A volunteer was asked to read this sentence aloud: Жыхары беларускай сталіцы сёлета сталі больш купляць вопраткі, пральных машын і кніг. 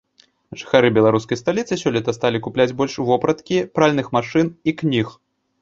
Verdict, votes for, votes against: accepted, 2, 0